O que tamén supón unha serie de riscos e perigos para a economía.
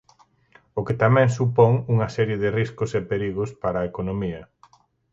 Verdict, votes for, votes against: accepted, 4, 0